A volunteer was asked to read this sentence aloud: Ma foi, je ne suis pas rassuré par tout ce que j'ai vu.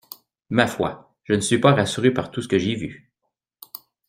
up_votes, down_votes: 2, 0